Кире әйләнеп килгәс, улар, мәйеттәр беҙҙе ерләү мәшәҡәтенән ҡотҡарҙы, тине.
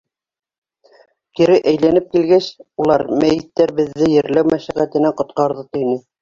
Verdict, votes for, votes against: accepted, 3, 1